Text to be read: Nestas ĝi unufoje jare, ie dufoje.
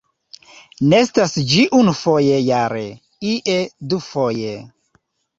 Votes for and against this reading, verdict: 2, 0, accepted